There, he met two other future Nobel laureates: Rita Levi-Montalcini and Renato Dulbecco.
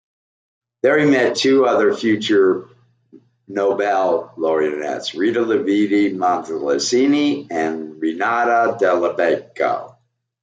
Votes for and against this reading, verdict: 0, 2, rejected